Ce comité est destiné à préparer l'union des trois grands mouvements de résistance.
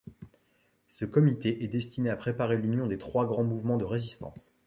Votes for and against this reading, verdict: 2, 0, accepted